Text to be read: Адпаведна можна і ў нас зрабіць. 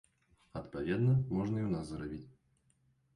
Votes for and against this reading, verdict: 0, 2, rejected